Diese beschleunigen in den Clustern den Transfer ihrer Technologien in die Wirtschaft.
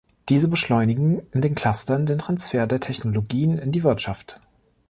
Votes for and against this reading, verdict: 0, 2, rejected